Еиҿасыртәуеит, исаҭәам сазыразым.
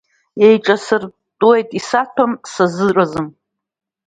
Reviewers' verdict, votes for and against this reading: accepted, 2, 0